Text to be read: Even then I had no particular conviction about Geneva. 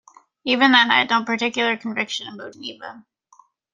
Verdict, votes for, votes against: rejected, 1, 2